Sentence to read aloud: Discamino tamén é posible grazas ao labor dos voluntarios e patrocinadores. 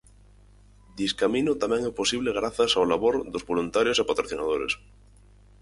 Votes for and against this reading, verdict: 4, 0, accepted